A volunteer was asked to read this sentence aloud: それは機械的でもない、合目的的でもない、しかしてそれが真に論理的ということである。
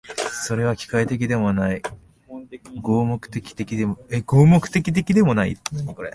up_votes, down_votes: 0, 2